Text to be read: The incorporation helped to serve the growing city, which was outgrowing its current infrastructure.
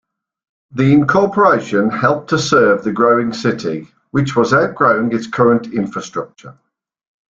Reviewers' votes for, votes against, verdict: 2, 0, accepted